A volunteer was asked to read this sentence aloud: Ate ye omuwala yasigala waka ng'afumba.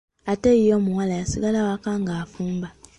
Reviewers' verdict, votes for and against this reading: accepted, 2, 0